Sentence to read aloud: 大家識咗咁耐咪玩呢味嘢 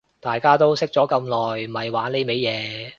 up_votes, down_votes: 0, 2